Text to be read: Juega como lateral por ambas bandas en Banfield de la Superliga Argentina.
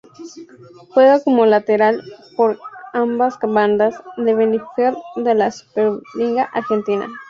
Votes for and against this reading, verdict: 0, 4, rejected